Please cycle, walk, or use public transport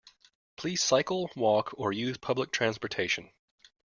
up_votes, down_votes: 0, 2